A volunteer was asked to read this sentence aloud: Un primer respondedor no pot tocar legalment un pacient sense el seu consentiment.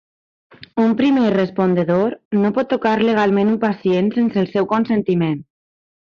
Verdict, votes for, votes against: accepted, 3, 0